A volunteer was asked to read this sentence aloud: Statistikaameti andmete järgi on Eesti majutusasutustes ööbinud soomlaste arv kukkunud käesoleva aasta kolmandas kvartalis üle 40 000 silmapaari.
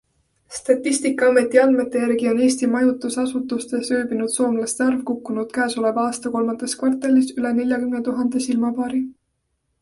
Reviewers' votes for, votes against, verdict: 0, 2, rejected